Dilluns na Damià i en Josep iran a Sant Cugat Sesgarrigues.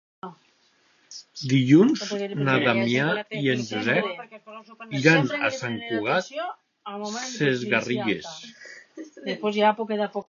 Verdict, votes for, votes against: rejected, 1, 2